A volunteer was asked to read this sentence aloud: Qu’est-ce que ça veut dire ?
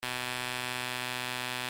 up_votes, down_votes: 0, 2